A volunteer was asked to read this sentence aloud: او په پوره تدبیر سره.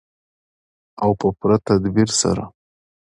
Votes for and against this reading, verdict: 2, 0, accepted